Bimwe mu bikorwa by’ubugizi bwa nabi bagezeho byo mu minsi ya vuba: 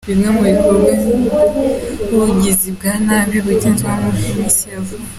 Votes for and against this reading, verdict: 0, 2, rejected